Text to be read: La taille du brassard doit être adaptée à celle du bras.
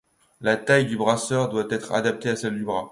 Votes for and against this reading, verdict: 2, 1, accepted